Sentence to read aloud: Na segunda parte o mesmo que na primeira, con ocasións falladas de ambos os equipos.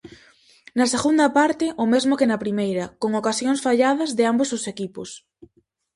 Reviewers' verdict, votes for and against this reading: accepted, 4, 0